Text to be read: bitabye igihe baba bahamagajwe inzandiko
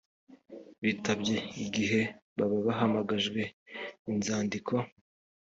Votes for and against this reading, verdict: 3, 0, accepted